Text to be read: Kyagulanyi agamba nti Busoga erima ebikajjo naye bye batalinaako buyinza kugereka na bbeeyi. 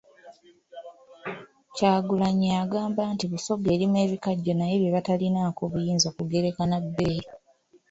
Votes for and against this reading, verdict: 2, 0, accepted